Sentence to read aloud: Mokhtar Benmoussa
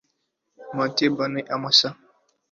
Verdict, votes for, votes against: rejected, 1, 2